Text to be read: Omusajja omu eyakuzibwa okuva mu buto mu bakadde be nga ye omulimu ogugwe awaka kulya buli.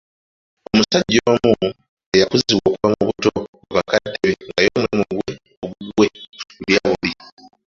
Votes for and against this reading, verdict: 0, 2, rejected